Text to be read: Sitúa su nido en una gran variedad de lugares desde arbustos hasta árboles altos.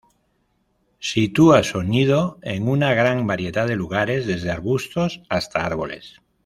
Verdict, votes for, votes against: rejected, 0, 2